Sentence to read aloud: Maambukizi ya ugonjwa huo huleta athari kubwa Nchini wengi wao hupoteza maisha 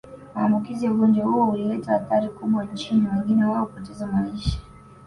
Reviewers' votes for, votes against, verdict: 1, 2, rejected